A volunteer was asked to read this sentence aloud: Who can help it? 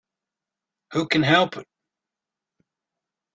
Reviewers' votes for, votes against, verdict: 2, 3, rejected